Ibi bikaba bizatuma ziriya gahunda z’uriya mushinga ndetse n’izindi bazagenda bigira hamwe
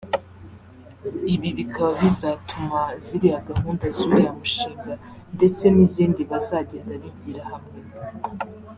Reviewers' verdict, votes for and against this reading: accepted, 2, 0